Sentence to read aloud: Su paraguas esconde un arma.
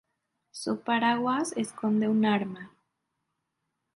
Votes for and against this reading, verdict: 0, 2, rejected